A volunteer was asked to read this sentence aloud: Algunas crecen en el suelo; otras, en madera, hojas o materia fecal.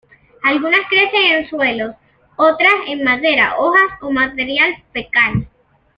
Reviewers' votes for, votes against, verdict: 0, 2, rejected